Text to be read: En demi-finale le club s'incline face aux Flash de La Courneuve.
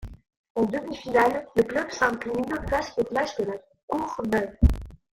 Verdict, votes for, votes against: rejected, 0, 2